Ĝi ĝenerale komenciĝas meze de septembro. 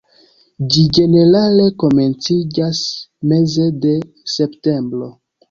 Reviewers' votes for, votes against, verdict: 1, 2, rejected